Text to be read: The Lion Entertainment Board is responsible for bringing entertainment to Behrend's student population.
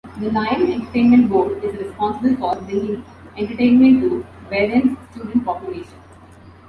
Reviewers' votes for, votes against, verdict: 2, 1, accepted